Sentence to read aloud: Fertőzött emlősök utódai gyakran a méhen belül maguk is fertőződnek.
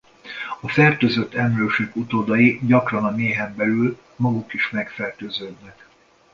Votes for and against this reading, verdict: 0, 2, rejected